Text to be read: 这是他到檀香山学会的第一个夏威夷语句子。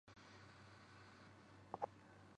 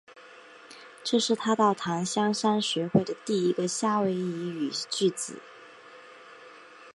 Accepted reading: second